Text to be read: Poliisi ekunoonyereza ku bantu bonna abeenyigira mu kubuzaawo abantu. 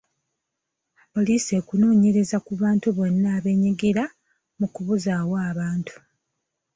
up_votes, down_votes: 2, 0